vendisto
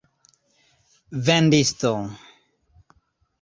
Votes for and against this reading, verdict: 0, 2, rejected